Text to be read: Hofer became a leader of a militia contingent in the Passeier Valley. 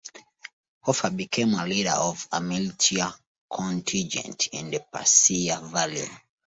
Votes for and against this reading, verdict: 2, 0, accepted